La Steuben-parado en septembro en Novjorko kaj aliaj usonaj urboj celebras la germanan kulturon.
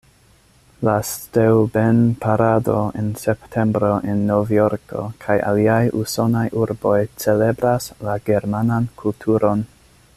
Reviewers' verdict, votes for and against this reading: accepted, 2, 0